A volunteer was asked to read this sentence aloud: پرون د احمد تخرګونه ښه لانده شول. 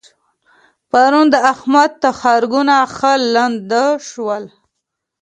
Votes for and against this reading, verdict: 2, 0, accepted